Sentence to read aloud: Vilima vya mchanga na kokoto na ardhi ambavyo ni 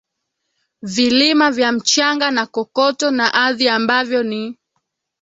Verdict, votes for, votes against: rejected, 1, 2